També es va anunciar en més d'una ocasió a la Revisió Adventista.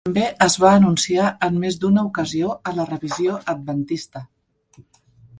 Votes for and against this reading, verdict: 1, 2, rejected